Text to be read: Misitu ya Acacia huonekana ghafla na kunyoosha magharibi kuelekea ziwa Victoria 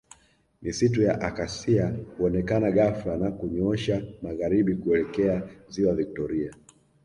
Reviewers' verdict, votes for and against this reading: rejected, 1, 2